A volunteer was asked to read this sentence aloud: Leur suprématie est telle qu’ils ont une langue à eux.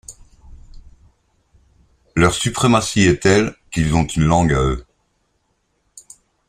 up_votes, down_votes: 2, 0